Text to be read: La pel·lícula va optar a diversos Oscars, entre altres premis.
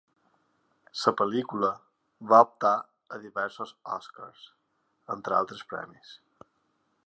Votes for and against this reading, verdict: 0, 2, rejected